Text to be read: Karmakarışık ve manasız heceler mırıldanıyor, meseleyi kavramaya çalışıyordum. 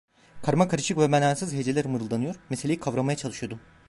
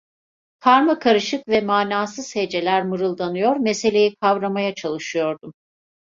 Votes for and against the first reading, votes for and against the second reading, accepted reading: 1, 2, 2, 0, second